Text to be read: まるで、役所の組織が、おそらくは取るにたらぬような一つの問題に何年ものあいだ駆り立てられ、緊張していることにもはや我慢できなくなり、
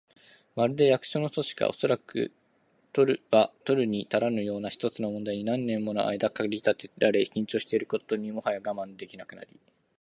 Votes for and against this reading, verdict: 2, 0, accepted